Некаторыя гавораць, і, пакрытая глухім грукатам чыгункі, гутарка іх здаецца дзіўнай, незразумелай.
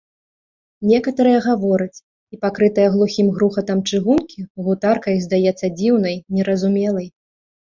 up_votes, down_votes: 0, 2